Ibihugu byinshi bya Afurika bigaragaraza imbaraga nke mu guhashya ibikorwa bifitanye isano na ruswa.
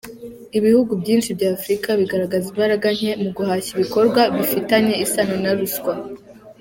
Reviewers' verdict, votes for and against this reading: accepted, 2, 1